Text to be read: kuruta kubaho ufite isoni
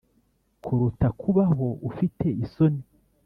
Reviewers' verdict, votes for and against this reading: accepted, 3, 0